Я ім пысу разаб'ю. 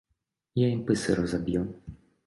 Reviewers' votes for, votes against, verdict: 2, 1, accepted